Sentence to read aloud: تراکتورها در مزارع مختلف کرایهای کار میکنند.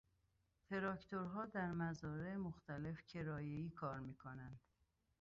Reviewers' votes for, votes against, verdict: 2, 1, accepted